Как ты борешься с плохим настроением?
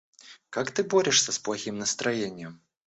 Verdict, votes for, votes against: rejected, 1, 2